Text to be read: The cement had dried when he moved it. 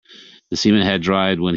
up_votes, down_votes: 0, 2